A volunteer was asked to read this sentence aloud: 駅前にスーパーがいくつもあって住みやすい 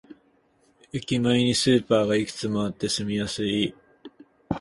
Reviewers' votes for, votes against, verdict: 8, 0, accepted